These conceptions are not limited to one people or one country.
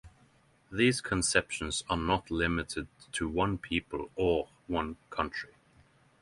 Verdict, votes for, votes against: accepted, 6, 0